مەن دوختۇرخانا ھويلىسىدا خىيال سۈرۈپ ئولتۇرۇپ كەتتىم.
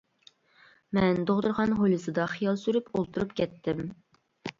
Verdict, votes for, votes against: rejected, 1, 2